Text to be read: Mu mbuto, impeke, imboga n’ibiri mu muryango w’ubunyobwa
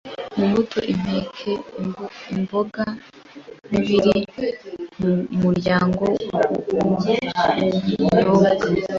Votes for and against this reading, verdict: 1, 2, rejected